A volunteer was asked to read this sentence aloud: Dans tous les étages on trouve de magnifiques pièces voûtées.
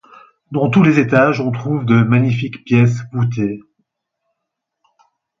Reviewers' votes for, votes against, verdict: 2, 4, rejected